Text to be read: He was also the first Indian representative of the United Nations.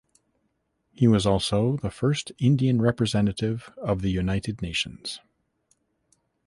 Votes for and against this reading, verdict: 2, 0, accepted